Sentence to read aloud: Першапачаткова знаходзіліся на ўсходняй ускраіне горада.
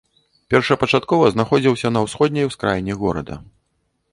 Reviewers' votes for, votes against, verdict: 0, 2, rejected